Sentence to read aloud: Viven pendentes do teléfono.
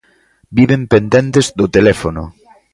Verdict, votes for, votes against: accepted, 2, 0